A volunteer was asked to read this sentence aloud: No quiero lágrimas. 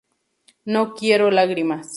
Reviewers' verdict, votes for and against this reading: accepted, 2, 0